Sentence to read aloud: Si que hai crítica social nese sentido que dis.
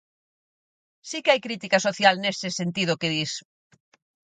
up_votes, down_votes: 4, 0